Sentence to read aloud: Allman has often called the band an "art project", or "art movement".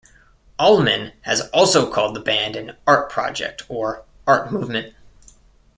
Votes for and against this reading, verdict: 0, 2, rejected